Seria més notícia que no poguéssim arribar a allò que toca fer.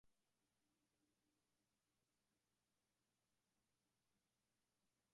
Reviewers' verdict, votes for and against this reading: rejected, 0, 2